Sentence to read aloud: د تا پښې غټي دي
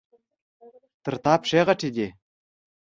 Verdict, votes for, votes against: accepted, 2, 0